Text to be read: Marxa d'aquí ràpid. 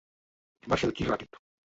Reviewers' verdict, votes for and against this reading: rejected, 0, 2